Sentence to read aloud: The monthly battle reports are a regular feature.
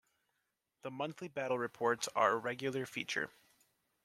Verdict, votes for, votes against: accepted, 2, 1